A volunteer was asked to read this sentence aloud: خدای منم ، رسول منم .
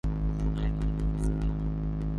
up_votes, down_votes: 0, 2